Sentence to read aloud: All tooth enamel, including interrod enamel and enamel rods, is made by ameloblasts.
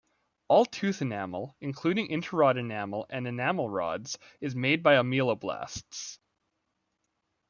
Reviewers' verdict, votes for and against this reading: rejected, 1, 2